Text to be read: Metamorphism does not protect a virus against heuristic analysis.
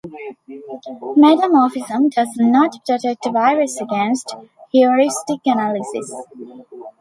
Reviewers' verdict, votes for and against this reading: rejected, 1, 2